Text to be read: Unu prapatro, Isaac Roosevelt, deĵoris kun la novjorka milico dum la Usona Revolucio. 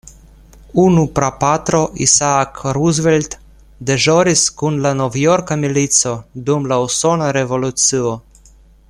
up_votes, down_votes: 2, 0